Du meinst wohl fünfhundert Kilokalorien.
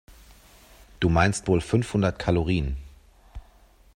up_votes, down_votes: 0, 2